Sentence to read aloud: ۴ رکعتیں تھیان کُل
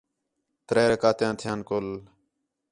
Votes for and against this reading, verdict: 0, 2, rejected